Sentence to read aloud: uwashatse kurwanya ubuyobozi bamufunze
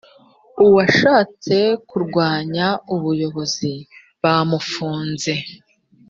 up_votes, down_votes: 3, 0